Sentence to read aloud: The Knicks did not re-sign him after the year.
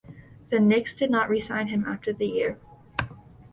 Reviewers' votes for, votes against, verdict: 2, 0, accepted